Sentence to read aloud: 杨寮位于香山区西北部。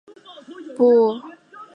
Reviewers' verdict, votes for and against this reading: rejected, 0, 2